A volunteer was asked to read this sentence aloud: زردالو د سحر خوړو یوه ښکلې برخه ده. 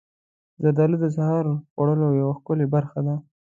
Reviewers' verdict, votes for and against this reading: accepted, 2, 1